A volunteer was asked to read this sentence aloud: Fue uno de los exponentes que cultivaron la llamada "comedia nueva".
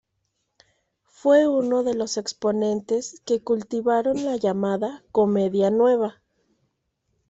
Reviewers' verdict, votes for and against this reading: accepted, 2, 0